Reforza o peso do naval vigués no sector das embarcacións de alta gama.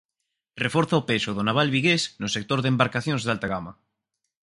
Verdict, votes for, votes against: rejected, 0, 4